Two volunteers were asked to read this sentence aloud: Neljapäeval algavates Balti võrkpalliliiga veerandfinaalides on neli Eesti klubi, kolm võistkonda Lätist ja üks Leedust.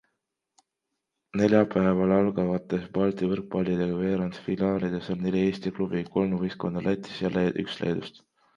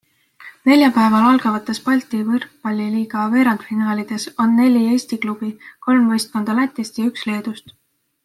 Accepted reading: second